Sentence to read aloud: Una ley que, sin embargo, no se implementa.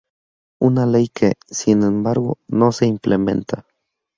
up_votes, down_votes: 2, 0